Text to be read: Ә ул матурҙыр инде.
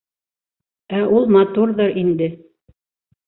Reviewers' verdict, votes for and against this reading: accepted, 3, 1